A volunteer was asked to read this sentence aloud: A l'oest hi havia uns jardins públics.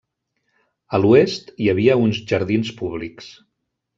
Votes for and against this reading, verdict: 3, 0, accepted